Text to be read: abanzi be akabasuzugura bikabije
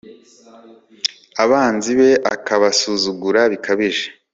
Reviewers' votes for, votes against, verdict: 2, 1, accepted